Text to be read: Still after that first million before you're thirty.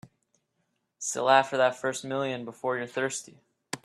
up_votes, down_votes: 0, 2